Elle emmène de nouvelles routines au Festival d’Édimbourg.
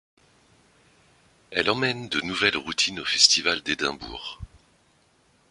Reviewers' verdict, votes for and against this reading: accepted, 2, 0